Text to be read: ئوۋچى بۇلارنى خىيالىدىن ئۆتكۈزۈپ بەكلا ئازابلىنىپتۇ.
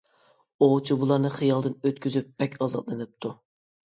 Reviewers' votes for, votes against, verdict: 0, 2, rejected